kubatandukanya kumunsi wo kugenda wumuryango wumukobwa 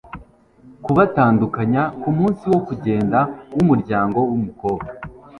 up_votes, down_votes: 2, 0